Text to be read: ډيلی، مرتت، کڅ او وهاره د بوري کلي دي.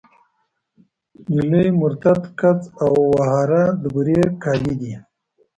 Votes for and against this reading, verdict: 3, 1, accepted